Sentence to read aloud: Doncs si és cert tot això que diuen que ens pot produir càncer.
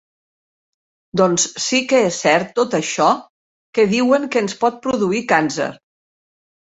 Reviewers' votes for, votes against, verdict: 0, 2, rejected